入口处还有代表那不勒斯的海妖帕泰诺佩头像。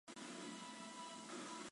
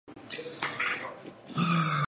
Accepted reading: first